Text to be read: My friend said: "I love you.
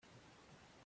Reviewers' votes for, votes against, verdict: 0, 2, rejected